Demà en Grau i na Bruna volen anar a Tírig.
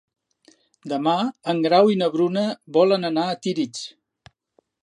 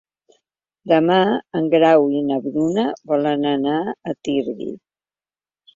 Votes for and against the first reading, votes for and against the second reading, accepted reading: 3, 0, 1, 2, first